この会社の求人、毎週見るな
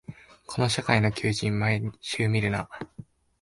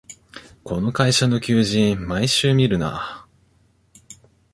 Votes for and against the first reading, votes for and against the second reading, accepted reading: 1, 3, 2, 0, second